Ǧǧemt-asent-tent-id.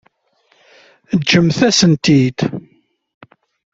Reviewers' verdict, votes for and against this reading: rejected, 1, 2